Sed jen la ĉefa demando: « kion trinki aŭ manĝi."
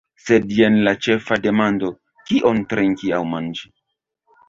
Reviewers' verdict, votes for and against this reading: accepted, 2, 0